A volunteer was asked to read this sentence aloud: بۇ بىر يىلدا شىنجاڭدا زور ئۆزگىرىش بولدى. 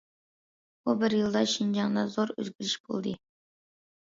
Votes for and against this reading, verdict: 2, 0, accepted